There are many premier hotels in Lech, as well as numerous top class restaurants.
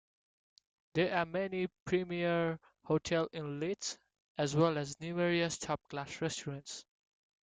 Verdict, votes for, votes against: accepted, 2, 1